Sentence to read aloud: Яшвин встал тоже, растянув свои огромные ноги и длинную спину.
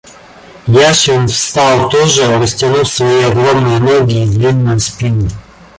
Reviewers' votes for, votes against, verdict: 2, 1, accepted